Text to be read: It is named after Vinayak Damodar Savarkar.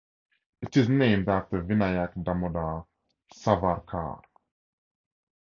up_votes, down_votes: 10, 0